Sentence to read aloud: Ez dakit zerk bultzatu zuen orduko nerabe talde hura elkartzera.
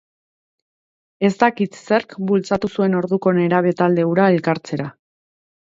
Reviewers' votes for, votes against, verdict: 2, 0, accepted